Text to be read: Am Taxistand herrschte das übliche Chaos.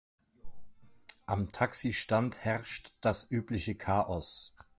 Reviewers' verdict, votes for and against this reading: rejected, 0, 2